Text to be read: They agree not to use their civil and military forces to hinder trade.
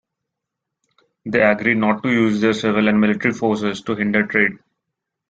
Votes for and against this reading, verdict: 1, 2, rejected